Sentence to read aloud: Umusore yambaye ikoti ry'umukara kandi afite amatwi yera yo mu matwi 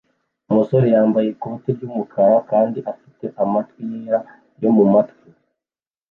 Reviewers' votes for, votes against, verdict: 1, 2, rejected